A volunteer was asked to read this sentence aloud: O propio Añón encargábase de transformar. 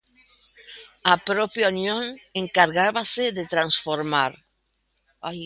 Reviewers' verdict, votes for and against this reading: rejected, 0, 2